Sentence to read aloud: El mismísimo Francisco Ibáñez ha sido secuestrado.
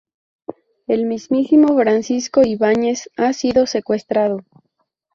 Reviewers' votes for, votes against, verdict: 0, 2, rejected